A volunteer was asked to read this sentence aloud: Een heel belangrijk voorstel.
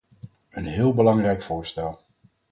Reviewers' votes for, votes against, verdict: 4, 0, accepted